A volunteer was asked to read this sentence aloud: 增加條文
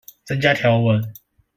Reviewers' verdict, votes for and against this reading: accepted, 2, 0